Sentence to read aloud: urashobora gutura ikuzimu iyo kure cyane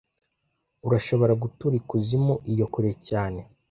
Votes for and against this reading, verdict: 2, 0, accepted